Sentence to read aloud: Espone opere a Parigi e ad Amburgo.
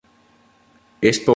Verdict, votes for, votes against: rejected, 0, 2